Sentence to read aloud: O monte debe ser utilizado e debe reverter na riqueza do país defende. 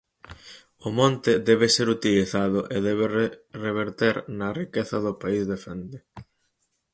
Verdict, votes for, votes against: rejected, 0, 4